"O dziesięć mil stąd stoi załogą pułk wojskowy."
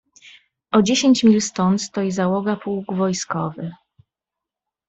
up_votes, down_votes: 0, 2